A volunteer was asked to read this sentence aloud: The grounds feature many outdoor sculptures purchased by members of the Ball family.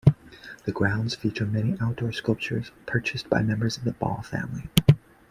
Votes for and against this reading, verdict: 2, 0, accepted